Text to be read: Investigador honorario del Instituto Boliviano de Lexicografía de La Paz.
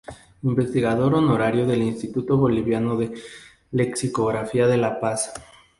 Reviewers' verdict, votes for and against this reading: accepted, 2, 0